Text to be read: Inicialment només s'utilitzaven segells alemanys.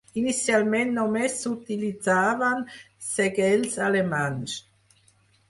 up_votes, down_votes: 2, 6